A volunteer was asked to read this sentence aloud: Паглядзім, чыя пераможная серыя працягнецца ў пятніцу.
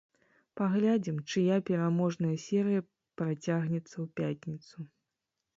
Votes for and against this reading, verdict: 0, 3, rejected